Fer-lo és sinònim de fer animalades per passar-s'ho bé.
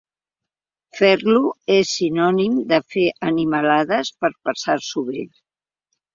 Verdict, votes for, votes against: accepted, 2, 0